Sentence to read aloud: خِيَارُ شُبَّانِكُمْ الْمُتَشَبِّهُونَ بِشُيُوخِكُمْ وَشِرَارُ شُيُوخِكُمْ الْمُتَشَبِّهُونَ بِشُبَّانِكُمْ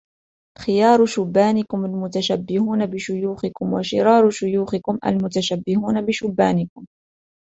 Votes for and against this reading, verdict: 2, 0, accepted